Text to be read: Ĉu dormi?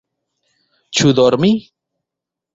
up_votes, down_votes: 2, 1